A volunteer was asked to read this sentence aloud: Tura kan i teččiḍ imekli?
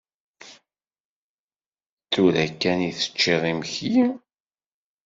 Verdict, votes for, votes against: accepted, 2, 0